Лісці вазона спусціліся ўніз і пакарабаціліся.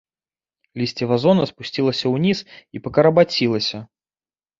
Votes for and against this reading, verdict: 1, 2, rejected